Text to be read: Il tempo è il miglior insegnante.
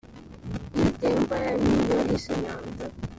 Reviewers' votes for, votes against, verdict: 0, 2, rejected